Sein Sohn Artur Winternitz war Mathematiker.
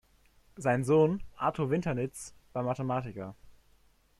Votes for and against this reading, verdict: 2, 0, accepted